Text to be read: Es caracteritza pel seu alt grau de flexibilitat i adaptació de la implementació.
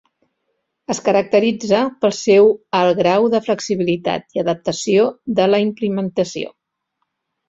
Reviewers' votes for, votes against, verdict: 0, 2, rejected